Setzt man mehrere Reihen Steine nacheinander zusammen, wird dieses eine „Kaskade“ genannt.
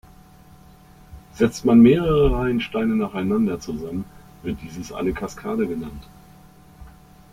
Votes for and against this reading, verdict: 2, 0, accepted